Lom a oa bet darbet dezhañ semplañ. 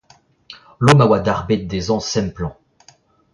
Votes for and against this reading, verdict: 0, 2, rejected